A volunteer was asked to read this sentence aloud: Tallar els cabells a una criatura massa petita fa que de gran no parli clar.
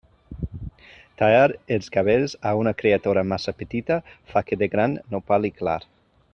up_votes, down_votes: 0, 2